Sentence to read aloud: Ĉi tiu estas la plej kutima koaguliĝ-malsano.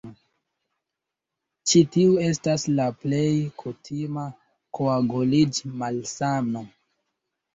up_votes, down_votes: 2, 0